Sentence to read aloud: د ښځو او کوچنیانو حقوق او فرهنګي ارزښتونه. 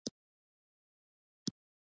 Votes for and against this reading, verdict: 1, 2, rejected